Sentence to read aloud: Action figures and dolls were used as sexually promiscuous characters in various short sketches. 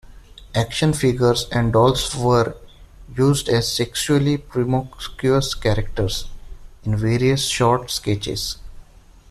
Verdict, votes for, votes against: rejected, 0, 2